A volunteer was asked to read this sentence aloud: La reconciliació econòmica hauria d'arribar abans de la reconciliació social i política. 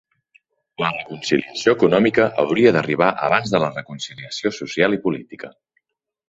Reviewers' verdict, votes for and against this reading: rejected, 4, 8